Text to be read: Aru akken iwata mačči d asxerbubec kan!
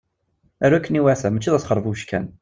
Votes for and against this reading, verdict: 2, 0, accepted